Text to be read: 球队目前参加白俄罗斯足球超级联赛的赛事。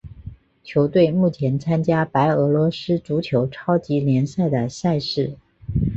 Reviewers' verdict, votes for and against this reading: rejected, 1, 2